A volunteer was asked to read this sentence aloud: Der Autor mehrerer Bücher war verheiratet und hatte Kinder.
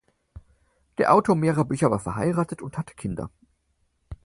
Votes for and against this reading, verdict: 4, 0, accepted